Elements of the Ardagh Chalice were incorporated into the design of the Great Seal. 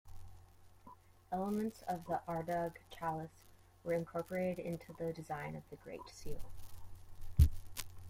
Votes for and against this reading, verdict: 2, 0, accepted